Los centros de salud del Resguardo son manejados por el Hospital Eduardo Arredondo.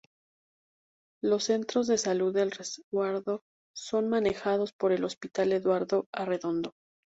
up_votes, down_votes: 2, 0